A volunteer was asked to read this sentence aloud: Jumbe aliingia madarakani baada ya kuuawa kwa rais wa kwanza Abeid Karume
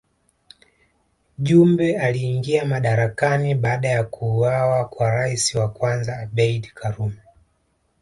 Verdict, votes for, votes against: accepted, 2, 0